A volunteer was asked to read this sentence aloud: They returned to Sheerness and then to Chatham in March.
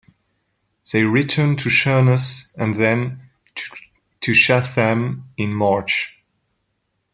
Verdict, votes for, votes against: accepted, 2, 0